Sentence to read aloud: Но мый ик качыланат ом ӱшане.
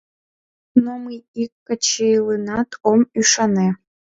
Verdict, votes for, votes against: rejected, 0, 2